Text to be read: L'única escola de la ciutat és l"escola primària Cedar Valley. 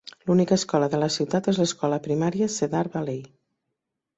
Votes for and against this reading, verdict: 2, 0, accepted